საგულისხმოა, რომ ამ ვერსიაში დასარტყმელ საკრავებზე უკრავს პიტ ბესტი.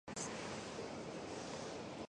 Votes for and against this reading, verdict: 1, 2, rejected